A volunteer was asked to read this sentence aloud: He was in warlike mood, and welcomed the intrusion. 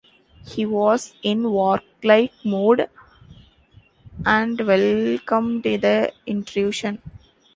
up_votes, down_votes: 0, 2